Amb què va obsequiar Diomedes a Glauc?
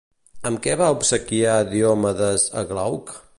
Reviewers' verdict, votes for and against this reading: accepted, 2, 0